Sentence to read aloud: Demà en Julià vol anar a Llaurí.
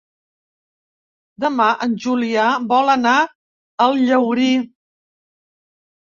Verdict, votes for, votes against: rejected, 2, 3